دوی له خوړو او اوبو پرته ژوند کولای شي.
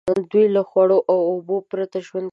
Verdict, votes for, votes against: rejected, 1, 2